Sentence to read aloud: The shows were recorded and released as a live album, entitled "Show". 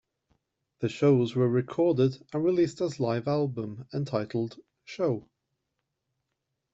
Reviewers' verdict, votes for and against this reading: rejected, 1, 2